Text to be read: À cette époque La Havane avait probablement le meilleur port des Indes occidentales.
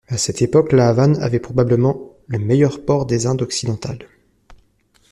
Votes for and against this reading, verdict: 2, 1, accepted